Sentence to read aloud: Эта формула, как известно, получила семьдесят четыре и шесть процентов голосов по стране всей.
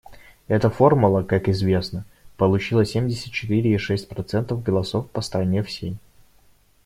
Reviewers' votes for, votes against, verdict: 0, 2, rejected